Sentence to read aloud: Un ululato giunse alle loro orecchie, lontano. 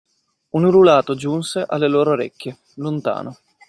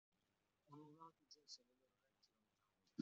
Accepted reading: first